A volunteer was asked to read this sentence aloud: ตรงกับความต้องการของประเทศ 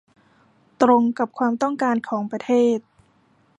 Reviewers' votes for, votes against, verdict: 2, 1, accepted